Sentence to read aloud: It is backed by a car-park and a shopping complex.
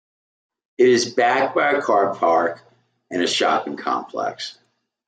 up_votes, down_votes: 2, 0